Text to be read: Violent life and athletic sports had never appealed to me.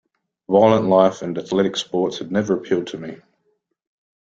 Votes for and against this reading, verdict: 1, 2, rejected